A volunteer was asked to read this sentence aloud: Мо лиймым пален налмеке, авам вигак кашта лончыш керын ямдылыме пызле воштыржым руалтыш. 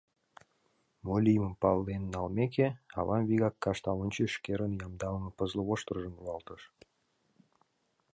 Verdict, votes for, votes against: rejected, 0, 2